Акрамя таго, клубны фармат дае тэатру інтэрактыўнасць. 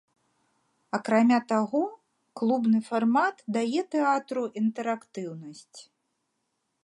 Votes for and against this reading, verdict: 2, 0, accepted